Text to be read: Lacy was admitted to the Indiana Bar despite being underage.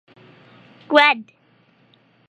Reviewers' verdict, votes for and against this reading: rejected, 0, 2